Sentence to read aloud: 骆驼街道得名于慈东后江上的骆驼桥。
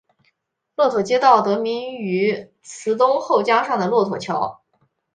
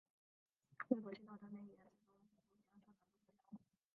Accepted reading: first